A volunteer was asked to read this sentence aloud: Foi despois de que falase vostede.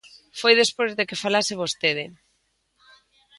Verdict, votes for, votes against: accepted, 2, 0